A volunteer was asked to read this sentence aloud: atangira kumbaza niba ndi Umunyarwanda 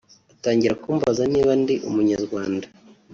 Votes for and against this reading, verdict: 0, 2, rejected